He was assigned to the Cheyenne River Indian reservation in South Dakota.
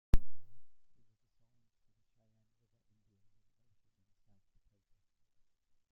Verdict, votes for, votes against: rejected, 0, 2